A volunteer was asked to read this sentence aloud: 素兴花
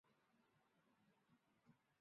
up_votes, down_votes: 1, 2